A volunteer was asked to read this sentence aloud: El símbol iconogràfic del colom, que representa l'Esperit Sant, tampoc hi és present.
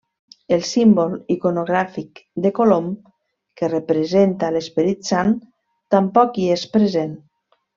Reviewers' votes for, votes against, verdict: 0, 2, rejected